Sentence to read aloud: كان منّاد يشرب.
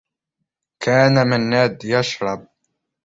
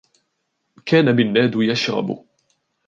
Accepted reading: second